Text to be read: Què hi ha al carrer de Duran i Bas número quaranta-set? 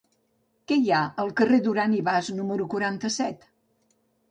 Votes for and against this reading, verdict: 3, 4, rejected